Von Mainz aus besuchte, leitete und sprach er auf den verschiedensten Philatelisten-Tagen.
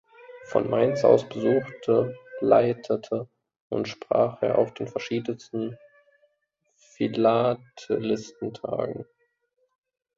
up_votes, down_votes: 0, 2